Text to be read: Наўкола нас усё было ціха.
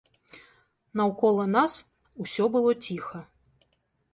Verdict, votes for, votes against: accepted, 2, 0